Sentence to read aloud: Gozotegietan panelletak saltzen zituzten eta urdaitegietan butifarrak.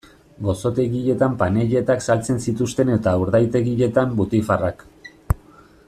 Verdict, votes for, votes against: accepted, 2, 0